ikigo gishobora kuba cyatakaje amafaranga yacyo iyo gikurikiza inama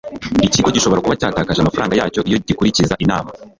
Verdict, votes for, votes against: rejected, 1, 2